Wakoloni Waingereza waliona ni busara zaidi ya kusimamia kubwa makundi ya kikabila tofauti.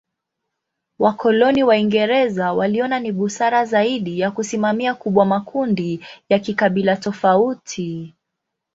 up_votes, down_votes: 2, 0